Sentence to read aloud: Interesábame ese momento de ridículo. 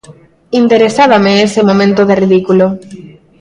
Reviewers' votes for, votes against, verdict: 2, 0, accepted